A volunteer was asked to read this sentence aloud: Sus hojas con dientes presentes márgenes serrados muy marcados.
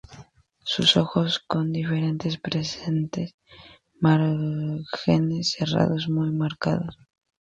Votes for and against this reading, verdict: 0, 2, rejected